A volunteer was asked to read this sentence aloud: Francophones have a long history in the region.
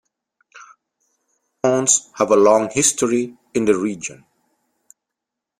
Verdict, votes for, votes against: rejected, 0, 2